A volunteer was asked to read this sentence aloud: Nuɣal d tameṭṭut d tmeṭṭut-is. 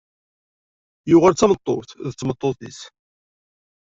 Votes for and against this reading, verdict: 1, 2, rejected